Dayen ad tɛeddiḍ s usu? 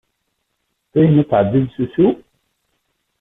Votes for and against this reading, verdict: 1, 2, rejected